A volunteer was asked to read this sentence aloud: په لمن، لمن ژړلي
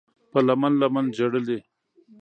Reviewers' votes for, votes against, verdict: 2, 0, accepted